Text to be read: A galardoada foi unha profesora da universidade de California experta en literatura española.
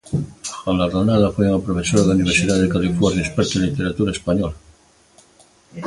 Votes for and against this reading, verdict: 0, 2, rejected